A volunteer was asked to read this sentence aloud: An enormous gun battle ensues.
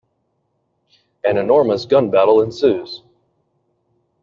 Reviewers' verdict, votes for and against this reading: accepted, 2, 0